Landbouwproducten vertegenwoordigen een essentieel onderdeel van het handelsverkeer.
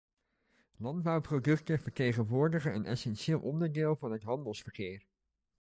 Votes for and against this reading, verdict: 2, 0, accepted